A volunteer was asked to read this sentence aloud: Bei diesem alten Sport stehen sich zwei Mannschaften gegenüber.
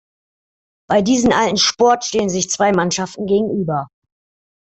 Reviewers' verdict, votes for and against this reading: accepted, 2, 0